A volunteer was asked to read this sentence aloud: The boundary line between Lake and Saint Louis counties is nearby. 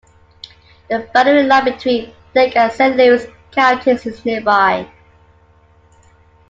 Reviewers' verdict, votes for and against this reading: accepted, 2, 1